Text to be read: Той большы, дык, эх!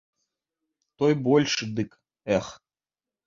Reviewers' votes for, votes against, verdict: 3, 0, accepted